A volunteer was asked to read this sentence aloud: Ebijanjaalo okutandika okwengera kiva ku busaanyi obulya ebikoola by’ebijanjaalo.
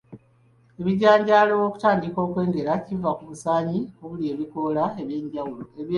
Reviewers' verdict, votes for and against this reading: rejected, 1, 3